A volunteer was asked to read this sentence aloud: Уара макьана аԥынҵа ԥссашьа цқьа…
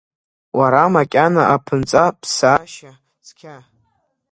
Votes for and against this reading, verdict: 1, 2, rejected